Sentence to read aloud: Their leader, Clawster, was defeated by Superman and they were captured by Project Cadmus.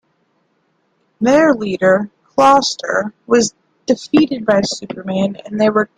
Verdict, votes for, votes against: rejected, 0, 2